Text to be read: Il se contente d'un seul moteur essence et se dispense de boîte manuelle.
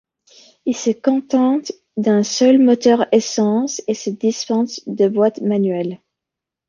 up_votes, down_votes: 2, 1